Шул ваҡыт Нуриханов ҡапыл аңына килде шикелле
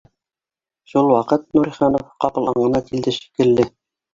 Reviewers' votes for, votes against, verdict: 1, 2, rejected